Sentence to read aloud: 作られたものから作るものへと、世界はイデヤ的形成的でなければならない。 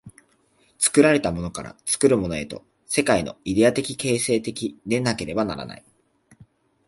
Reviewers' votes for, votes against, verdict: 2, 1, accepted